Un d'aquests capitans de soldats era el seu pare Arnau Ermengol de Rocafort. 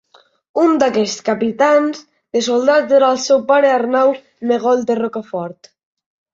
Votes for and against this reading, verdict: 1, 2, rejected